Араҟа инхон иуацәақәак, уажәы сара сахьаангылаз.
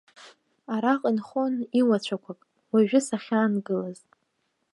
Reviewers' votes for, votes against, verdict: 0, 2, rejected